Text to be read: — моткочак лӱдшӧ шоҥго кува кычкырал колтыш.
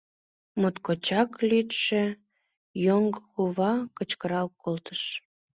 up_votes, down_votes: 1, 2